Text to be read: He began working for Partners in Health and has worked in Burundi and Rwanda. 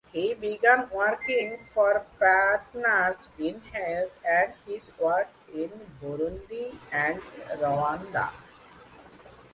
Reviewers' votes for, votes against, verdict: 0, 2, rejected